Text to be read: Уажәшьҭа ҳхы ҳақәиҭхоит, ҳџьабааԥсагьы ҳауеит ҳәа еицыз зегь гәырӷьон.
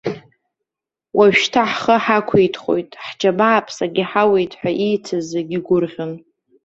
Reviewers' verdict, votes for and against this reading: accepted, 2, 1